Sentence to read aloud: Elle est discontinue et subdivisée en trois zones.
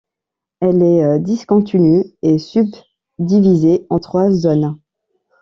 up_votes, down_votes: 1, 2